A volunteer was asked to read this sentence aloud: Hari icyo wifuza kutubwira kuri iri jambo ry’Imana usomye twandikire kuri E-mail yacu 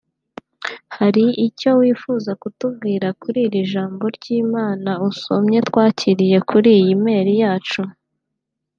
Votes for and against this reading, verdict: 1, 2, rejected